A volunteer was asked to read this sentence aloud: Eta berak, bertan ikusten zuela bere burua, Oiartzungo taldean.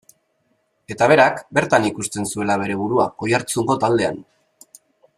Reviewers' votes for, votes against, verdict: 3, 0, accepted